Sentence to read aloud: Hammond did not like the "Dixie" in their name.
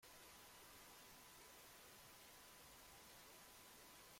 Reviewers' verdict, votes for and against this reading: rejected, 0, 3